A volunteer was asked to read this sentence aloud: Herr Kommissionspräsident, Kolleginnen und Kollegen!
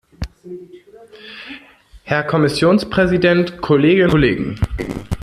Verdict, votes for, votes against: rejected, 0, 2